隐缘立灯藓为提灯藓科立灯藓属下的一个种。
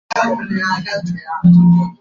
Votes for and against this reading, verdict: 0, 4, rejected